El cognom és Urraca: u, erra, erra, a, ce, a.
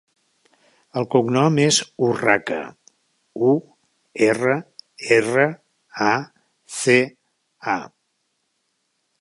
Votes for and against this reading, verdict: 0, 2, rejected